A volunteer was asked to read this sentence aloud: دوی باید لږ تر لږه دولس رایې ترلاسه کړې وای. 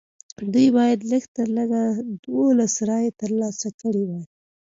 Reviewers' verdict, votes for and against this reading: accepted, 2, 0